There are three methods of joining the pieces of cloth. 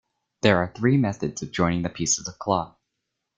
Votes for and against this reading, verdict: 2, 0, accepted